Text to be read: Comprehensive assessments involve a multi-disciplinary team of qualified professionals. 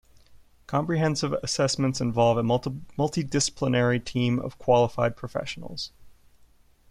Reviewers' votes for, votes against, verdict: 1, 2, rejected